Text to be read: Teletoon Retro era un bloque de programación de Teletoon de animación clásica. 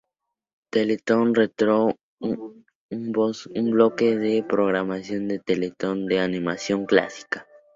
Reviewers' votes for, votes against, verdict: 0, 2, rejected